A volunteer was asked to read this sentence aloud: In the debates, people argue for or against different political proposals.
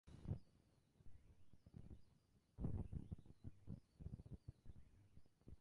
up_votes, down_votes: 0, 2